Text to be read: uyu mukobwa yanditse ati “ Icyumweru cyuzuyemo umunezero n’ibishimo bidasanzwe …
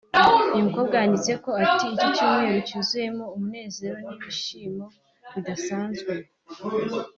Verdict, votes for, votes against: accepted, 3, 0